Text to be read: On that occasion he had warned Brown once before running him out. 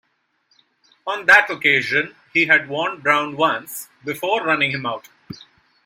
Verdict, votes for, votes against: rejected, 1, 2